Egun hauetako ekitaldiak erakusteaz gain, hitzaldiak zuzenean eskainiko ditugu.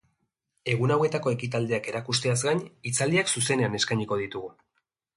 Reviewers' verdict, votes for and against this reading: accepted, 2, 0